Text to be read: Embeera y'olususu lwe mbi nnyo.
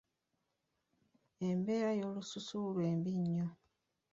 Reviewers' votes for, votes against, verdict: 2, 0, accepted